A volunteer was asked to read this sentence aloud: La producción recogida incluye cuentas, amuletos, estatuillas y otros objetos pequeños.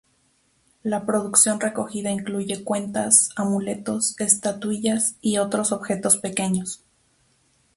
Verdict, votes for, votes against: accepted, 4, 0